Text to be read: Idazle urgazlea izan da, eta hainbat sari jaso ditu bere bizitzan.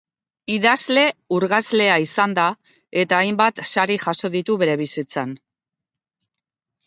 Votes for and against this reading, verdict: 2, 0, accepted